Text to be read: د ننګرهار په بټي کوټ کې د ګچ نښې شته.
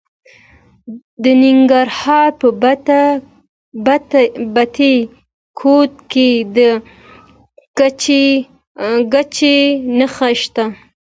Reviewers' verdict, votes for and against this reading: rejected, 0, 2